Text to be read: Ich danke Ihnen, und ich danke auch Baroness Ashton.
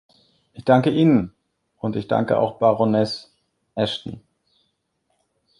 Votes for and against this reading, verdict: 2, 1, accepted